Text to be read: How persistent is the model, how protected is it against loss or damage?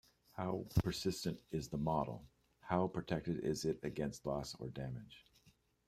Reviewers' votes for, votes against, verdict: 1, 2, rejected